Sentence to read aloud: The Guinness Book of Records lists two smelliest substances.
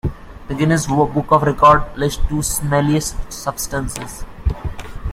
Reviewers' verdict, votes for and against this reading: rejected, 1, 2